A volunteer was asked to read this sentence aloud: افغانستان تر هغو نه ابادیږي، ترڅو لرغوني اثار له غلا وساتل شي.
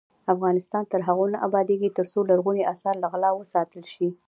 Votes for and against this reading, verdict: 2, 0, accepted